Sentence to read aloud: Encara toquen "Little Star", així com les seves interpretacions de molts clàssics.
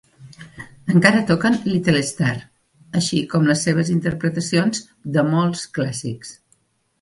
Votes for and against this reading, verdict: 2, 0, accepted